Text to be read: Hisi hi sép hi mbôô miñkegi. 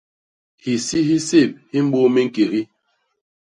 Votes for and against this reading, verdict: 0, 2, rejected